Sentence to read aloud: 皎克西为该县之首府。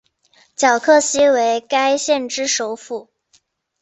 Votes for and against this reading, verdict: 3, 0, accepted